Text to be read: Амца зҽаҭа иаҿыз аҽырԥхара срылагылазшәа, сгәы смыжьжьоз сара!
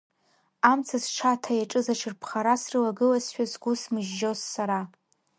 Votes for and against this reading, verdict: 1, 2, rejected